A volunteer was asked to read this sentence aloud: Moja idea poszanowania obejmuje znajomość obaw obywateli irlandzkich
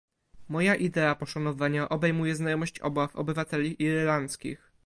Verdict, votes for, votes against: rejected, 1, 2